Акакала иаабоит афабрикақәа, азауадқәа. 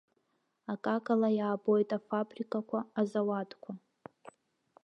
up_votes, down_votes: 2, 0